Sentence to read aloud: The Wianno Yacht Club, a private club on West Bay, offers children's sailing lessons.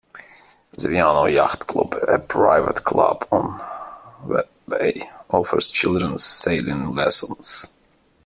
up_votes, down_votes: 0, 2